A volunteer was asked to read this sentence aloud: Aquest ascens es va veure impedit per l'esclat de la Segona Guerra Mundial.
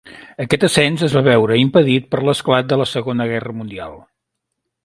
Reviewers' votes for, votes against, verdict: 2, 0, accepted